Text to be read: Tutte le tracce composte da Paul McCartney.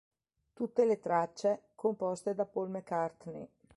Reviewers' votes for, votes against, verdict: 2, 0, accepted